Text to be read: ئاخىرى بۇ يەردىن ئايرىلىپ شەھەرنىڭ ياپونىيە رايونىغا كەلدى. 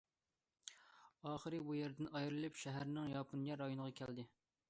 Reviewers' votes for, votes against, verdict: 2, 0, accepted